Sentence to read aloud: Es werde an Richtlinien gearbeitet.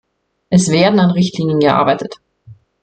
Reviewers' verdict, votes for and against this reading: rejected, 1, 2